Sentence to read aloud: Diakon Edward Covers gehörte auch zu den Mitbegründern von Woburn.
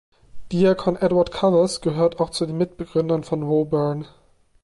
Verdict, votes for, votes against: rejected, 1, 2